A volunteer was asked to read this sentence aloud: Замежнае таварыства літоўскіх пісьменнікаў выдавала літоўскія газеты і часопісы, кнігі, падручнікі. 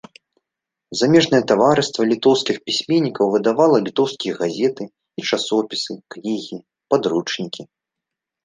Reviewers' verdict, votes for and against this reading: rejected, 1, 2